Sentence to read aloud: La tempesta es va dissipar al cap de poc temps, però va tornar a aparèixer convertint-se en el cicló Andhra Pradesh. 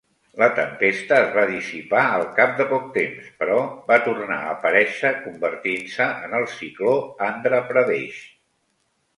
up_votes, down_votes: 3, 0